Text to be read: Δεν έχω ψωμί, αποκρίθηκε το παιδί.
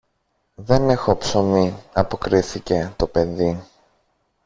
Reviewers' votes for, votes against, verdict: 1, 2, rejected